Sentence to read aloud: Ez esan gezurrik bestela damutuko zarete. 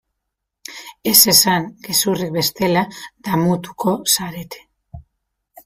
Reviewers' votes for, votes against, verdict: 2, 1, accepted